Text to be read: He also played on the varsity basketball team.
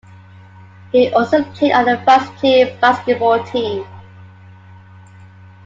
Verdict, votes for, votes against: rejected, 0, 2